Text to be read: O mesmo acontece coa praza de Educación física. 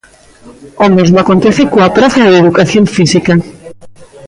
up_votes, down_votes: 2, 0